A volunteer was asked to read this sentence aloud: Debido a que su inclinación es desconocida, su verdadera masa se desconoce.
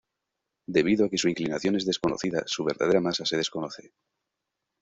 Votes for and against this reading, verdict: 2, 0, accepted